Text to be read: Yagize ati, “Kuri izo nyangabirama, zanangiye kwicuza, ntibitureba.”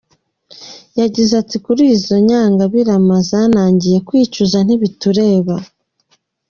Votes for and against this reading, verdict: 2, 0, accepted